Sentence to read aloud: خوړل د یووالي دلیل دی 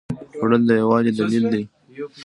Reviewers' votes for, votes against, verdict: 2, 1, accepted